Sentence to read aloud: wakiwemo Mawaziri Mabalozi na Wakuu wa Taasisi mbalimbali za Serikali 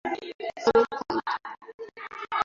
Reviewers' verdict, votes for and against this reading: rejected, 0, 2